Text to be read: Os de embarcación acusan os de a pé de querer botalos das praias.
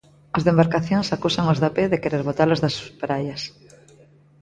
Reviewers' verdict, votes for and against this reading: rejected, 1, 2